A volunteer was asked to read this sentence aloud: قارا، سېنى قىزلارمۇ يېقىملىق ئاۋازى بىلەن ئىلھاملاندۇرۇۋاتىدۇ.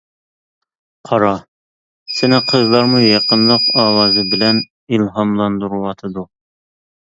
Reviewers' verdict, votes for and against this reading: rejected, 1, 2